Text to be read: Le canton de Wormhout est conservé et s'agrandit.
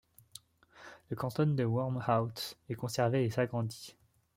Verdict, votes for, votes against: rejected, 0, 2